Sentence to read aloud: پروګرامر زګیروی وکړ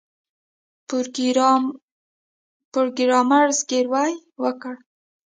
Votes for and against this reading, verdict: 1, 2, rejected